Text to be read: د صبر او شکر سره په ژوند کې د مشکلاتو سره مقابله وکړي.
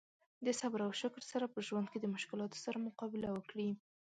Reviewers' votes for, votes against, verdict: 2, 0, accepted